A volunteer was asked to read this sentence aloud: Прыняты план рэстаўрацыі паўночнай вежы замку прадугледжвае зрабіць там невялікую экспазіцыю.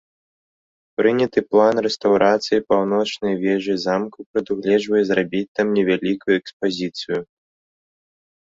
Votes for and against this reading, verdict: 1, 2, rejected